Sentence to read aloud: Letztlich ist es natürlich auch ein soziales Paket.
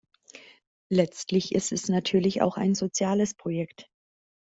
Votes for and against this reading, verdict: 0, 3, rejected